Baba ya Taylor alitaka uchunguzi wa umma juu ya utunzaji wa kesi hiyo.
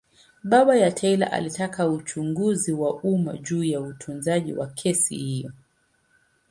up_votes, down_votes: 2, 0